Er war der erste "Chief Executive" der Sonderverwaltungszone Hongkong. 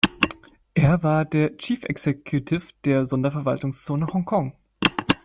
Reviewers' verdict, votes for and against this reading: rejected, 0, 2